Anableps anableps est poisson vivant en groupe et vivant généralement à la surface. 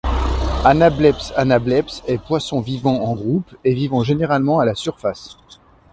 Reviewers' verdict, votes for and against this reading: rejected, 1, 2